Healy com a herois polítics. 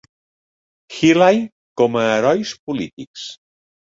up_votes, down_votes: 2, 0